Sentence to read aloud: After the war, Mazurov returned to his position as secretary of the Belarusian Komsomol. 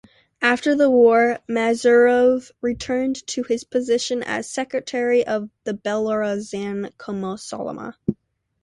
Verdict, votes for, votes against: rejected, 0, 2